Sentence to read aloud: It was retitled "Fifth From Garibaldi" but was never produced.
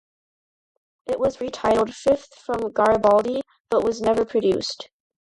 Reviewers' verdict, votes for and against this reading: accepted, 2, 0